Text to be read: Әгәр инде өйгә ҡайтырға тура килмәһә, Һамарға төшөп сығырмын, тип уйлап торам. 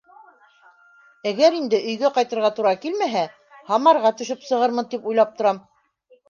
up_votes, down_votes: 1, 2